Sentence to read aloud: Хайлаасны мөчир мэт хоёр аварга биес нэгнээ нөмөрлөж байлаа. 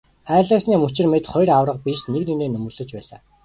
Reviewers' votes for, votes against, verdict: 1, 2, rejected